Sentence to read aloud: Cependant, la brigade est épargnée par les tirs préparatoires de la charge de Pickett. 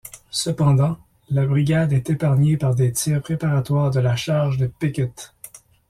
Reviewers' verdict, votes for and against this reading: rejected, 0, 2